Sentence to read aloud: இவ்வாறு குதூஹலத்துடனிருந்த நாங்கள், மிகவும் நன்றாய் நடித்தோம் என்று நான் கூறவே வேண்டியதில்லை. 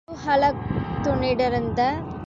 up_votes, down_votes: 0, 2